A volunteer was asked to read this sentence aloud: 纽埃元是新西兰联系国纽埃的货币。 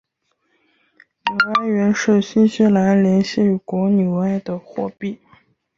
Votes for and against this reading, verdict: 2, 2, rejected